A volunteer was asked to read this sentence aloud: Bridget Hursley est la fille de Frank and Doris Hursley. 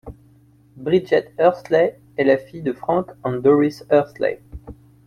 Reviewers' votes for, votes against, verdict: 2, 0, accepted